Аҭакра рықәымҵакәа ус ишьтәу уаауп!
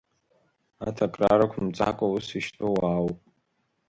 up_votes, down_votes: 2, 0